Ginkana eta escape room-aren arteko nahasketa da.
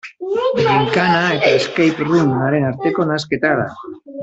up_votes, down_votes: 1, 2